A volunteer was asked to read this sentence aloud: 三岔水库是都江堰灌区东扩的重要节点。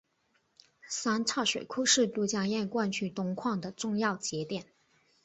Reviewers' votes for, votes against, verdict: 3, 0, accepted